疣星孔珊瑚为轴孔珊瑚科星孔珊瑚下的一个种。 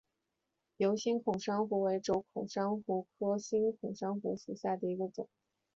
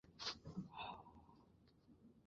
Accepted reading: first